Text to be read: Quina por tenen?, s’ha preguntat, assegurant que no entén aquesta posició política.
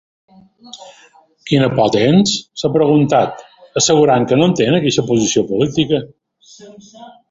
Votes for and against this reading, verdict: 0, 2, rejected